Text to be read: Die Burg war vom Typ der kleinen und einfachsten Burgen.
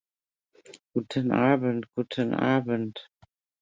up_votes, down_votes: 0, 2